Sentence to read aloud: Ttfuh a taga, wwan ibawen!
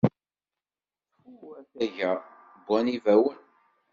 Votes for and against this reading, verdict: 1, 2, rejected